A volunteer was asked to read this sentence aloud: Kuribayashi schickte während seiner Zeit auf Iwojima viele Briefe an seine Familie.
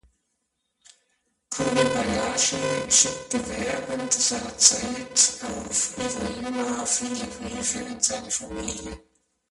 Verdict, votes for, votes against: rejected, 0, 2